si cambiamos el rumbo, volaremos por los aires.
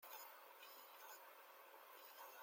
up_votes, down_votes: 0, 2